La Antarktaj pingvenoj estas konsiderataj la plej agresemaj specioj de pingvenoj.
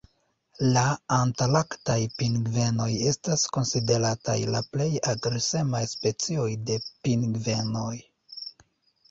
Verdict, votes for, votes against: rejected, 1, 2